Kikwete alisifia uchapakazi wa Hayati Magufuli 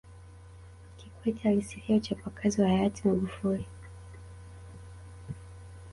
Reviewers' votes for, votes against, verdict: 1, 2, rejected